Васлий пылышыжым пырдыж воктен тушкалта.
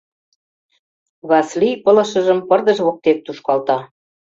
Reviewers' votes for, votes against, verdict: 0, 2, rejected